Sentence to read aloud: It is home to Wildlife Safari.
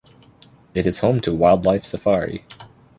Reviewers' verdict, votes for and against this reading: accepted, 2, 0